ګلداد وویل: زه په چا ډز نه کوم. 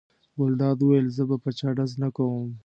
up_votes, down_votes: 2, 1